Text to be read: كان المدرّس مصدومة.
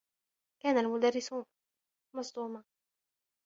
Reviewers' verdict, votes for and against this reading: accepted, 3, 0